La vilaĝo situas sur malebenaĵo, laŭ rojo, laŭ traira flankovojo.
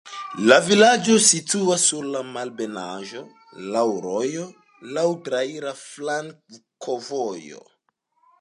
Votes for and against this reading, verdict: 2, 0, accepted